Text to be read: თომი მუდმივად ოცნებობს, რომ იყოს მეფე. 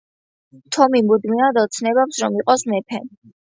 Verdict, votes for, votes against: accepted, 2, 0